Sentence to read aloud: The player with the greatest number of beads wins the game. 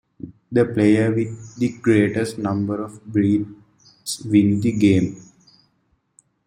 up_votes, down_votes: 2, 1